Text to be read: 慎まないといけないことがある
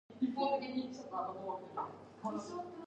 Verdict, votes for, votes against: rejected, 0, 2